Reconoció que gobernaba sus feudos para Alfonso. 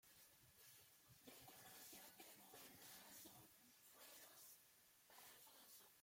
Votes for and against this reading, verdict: 0, 3, rejected